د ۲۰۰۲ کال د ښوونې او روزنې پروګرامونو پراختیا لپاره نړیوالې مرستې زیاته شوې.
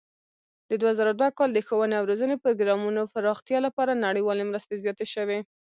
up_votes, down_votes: 0, 2